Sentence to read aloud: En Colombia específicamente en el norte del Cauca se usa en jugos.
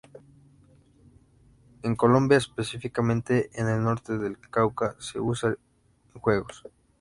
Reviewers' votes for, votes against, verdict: 0, 2, rejected